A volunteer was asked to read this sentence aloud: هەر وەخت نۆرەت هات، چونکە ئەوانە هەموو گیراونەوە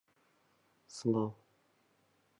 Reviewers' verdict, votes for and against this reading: rejected, 0, 2